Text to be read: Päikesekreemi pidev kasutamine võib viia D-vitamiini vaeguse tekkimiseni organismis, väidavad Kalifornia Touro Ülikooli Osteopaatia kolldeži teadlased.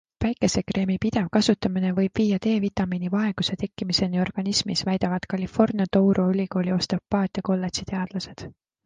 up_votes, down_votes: 2, 0